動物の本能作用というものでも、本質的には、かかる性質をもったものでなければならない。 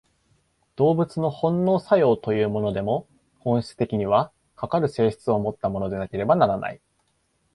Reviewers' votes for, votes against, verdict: 2, 0, accepted